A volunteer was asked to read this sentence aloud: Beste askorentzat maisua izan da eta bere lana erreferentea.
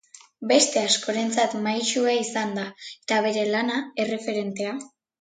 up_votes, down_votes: 4, 1